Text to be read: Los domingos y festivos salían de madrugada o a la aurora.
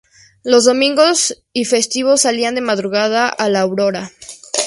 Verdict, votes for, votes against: rejected, 2, 2